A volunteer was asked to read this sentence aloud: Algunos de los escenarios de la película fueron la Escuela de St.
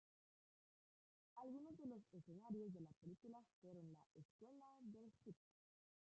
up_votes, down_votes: 0, 2